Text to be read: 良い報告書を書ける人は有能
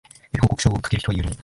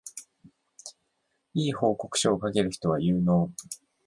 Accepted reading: second